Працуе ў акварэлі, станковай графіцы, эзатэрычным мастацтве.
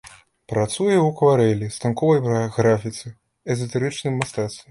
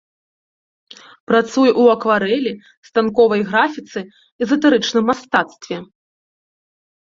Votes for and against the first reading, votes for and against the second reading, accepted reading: 1, 2, 2, 0, second